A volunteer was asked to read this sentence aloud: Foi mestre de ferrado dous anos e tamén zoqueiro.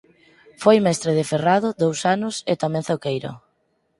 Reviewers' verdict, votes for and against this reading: accepted, 4, 0